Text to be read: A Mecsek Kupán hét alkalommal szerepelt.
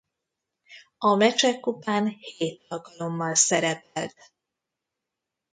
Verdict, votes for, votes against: rejected, 1, 2